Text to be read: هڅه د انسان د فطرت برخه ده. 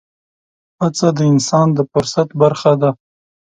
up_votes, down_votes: 1, 2